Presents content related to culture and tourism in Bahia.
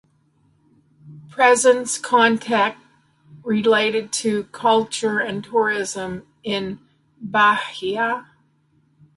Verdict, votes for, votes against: rejected, 0, 2